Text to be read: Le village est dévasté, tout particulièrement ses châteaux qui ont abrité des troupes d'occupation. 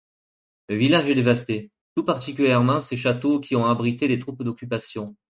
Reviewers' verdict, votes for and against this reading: accepted, 3, 0